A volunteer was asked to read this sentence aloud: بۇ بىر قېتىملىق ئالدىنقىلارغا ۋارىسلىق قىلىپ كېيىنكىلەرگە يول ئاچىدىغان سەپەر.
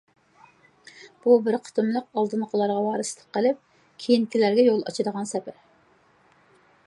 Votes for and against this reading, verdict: 2, 0, accepted